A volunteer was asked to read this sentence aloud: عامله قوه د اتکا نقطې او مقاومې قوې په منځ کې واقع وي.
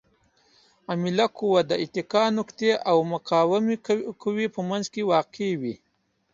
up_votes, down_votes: 2, 0